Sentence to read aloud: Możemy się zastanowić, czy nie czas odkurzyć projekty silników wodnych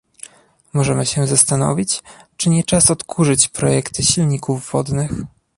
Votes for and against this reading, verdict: 2, 0, accepted